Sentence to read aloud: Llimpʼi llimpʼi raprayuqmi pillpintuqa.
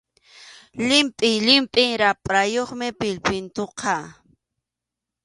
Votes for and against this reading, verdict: 2, 0, accepted